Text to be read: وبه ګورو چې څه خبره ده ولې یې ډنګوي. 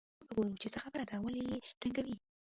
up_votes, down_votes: 0, 2